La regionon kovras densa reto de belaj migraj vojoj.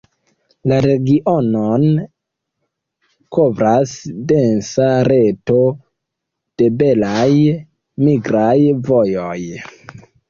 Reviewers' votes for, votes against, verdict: 2, 0, accepted